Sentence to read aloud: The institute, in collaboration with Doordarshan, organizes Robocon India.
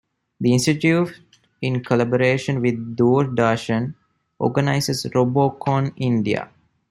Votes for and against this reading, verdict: 2, 0, accepted